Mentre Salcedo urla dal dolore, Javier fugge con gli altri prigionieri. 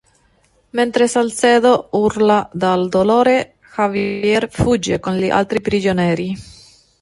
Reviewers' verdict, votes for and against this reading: rejected, 0, 2